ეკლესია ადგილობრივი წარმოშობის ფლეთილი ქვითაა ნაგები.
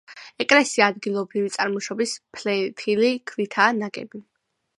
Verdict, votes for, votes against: rejected, 1, 3